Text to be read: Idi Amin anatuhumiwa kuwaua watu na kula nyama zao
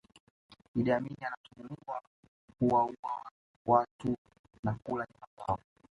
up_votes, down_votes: 2, 1